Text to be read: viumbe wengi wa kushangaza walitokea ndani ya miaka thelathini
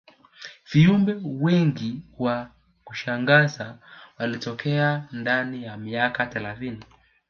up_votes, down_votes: 1, 2